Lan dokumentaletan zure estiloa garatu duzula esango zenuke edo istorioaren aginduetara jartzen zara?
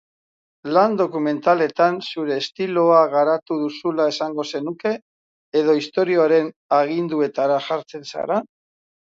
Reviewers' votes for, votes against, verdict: 4, 0, accepted